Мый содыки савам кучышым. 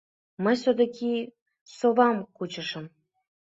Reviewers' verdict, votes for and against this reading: rejected, 0, 2